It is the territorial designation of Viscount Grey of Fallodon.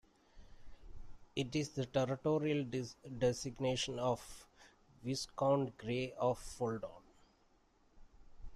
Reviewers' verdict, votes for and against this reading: rejected, 0, 2